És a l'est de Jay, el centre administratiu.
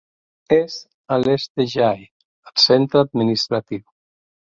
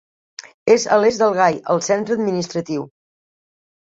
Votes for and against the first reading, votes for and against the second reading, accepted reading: 2, 1, 0, 2, first